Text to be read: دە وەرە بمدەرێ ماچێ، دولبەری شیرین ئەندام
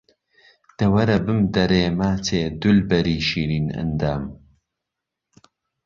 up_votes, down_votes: 2, 0